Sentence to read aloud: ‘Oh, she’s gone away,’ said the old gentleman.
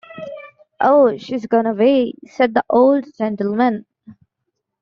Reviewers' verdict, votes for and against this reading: accepted, 2, 0